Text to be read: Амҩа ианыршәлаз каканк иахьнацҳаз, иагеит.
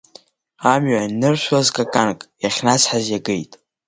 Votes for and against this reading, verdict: 1, 3, rejected